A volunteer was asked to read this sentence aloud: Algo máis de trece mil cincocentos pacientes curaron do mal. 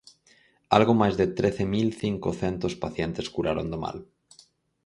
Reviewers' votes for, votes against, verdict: 4, 0, accepted